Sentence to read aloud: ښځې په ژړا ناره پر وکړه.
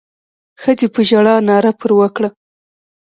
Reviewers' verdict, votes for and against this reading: accepted, 2, 0